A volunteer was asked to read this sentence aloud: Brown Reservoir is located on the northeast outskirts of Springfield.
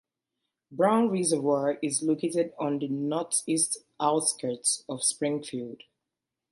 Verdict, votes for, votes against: rejected, 1, 2